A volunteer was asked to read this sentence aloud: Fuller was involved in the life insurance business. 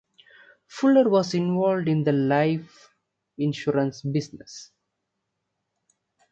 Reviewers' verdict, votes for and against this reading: accepted, 2, 1